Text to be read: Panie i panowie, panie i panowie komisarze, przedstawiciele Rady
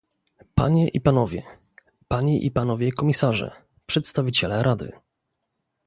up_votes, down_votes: 2, 0